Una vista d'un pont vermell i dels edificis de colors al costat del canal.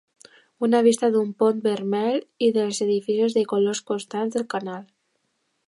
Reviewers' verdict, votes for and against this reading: rejected, 0, 2